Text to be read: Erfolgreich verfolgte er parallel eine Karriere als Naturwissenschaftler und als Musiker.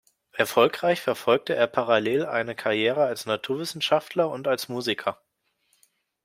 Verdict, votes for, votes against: accepted, 2, 0